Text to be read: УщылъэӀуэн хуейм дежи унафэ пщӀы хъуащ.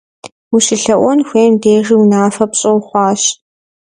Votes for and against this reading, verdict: 1, 2, rejected